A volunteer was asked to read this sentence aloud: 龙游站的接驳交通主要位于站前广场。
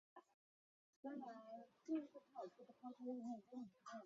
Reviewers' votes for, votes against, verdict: 0, 5, rejected